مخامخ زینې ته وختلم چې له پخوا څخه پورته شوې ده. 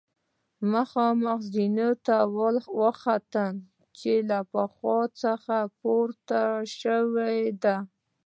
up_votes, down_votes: 2, 0